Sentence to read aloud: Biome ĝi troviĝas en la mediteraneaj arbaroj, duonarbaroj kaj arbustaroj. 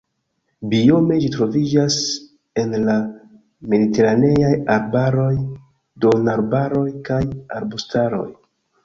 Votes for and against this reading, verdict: 2, 3, rejected